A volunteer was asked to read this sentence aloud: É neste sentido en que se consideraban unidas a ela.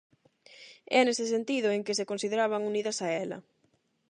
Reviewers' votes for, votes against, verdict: 4, 4, rejected